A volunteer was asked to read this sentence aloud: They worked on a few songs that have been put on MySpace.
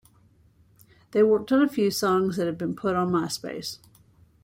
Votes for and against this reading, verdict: 2, 0, accepted